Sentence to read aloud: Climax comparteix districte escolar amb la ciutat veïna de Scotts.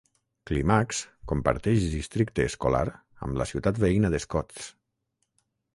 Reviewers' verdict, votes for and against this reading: accepted, 3, 0